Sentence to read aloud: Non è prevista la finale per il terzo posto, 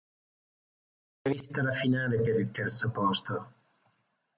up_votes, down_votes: 0, 2